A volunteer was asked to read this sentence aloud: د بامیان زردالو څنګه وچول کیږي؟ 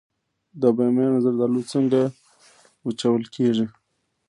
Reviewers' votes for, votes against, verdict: 0, 2, rejected